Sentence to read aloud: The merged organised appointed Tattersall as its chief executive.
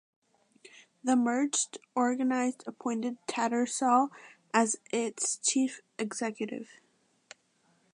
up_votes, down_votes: 2, 0